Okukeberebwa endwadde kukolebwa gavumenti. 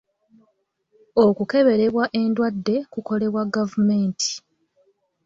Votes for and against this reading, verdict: 2, 0, accepted